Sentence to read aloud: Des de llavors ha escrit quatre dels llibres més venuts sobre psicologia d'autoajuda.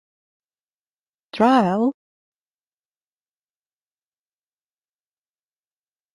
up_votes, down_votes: 0, 2